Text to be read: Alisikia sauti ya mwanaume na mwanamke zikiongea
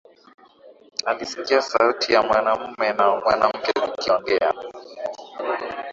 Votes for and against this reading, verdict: 2, 0, accepted